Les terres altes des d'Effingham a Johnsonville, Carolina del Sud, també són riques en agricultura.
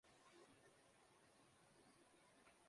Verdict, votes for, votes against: rejected, 0, 2